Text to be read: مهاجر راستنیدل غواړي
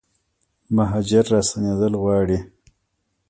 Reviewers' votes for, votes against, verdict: 2, 0, accepted